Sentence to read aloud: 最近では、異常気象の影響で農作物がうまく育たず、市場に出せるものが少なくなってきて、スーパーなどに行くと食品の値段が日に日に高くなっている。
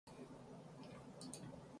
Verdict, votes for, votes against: rejected, 0, 2